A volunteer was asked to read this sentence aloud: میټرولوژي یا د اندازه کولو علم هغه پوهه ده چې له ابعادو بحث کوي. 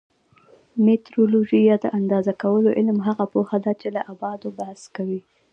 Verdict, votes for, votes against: rejected, 1, 2